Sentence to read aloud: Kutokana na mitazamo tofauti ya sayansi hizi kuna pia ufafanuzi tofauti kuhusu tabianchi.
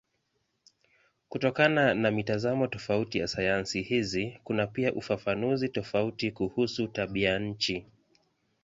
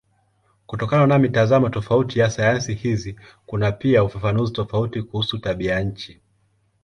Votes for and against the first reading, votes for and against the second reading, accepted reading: 2, 0, 1, 3, first